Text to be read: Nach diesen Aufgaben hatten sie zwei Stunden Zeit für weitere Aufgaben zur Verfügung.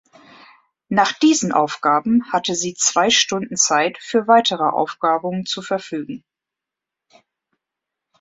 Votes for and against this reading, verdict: 0, 2, rejected